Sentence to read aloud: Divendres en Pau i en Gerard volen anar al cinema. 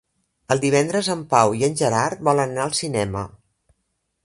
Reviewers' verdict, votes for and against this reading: rejected, 1, 2